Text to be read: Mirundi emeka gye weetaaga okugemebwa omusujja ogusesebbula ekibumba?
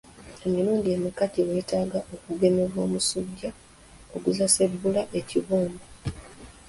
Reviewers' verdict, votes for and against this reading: rejected, 1, 2